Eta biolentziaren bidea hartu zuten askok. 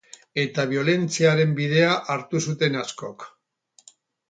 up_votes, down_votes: 2, 2